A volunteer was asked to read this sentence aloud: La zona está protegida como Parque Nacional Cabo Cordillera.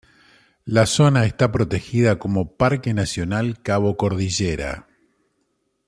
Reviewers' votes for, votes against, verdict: 2, 0, accepted